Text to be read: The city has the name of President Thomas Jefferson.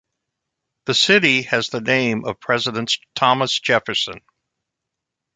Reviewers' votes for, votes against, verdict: 0, 2, rejected